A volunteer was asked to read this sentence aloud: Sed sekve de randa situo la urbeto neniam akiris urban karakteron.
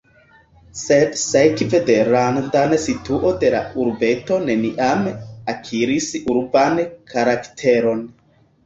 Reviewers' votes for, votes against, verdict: 2, 1, accepted